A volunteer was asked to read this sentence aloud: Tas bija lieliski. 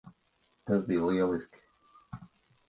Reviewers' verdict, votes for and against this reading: accepted, 3, 0